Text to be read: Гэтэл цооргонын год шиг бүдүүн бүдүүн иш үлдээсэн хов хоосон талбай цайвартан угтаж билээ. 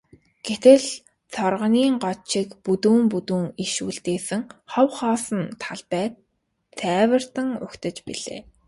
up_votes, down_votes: 2, 0